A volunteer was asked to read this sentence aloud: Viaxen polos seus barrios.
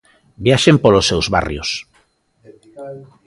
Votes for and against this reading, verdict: 2, 1, accepted